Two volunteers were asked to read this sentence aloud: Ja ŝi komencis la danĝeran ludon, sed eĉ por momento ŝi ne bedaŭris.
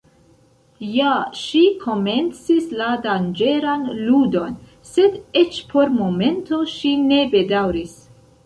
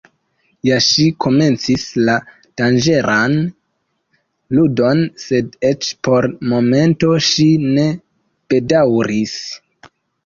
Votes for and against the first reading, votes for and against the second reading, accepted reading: 1, 2, 2, 0, second